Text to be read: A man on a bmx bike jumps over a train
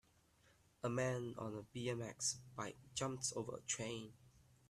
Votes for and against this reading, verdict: 2, 0, accepted